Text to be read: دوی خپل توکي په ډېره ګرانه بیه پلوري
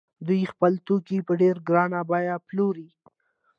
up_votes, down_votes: 2, 1